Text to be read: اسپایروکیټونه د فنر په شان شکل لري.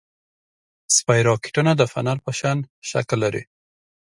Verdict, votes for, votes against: accepted, 2, 0